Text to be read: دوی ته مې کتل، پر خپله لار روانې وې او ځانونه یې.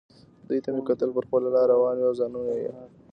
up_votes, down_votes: 1, 2